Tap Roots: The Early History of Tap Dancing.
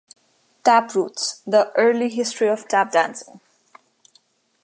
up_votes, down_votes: 2, 0